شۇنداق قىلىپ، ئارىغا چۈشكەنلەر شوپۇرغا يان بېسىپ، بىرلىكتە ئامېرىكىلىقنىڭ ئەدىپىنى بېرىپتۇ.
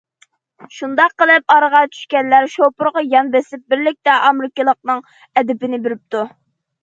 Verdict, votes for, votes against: accepted, 2, 0